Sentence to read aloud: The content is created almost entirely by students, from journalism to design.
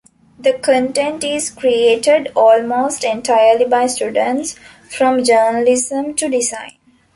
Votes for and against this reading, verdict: 2, 0, accepted